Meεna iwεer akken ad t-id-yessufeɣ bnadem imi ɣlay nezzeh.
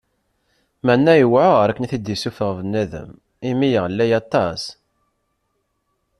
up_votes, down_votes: 0, 2